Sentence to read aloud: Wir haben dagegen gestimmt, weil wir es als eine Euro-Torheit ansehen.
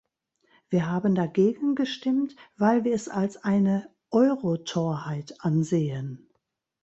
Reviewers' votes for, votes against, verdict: 2, 1, accepted